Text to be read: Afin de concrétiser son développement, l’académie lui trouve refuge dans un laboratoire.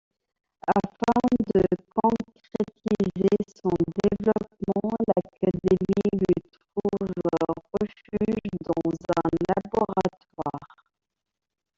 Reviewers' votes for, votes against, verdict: 0, 2, rejected